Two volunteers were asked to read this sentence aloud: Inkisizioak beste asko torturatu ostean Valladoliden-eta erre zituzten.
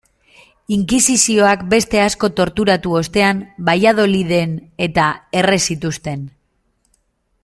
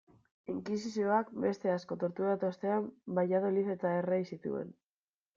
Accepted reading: first